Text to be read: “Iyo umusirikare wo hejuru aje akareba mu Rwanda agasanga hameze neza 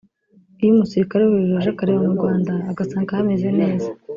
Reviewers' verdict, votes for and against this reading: rejected, 1, 2